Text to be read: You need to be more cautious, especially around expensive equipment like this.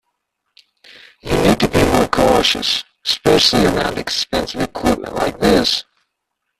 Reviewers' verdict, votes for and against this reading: rejected, 1, 2